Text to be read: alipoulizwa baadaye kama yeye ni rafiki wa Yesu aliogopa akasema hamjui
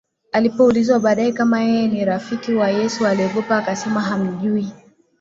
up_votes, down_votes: 2, 1